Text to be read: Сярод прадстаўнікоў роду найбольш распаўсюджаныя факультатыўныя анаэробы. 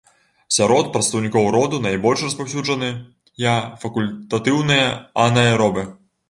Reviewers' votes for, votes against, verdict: 0, 2, rejected